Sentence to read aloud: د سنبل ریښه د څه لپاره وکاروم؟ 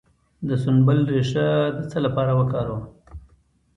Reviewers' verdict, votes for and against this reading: accepted, 2, 0